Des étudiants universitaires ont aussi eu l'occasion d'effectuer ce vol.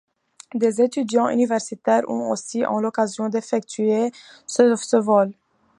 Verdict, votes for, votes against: rejected, 1, 2